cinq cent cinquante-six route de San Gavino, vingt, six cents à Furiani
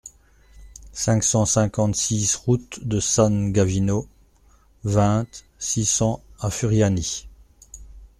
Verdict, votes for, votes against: accepted, 2, 0